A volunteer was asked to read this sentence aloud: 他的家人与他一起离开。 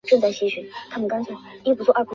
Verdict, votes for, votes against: rejected, 0, 2